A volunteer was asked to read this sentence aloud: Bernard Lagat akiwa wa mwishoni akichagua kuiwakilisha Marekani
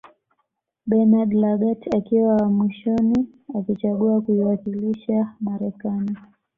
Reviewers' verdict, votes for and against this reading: accepted, 2, 0